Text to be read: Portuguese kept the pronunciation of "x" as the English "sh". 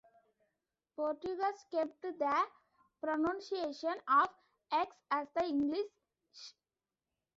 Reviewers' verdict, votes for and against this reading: accepted, 2, 0